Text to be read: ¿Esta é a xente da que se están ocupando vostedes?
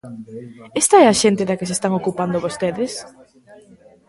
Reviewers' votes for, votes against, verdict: 2, 1, accepted